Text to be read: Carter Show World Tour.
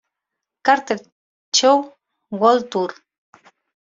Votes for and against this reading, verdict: 2, 0, accepted